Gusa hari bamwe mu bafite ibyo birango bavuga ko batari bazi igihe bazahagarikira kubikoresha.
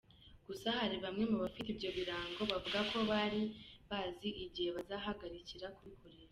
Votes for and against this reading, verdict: 2, 1, accepted